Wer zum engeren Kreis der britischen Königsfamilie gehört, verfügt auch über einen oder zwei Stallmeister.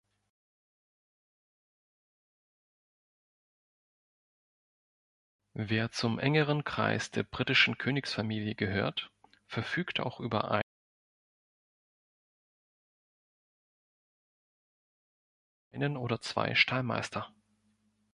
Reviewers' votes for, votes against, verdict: 0, 2, rejected